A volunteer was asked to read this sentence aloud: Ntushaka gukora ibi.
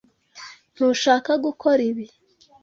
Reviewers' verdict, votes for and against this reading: accepted, 2, 0